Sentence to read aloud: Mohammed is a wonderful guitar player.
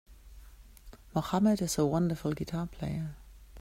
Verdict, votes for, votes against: accepted, 2, 0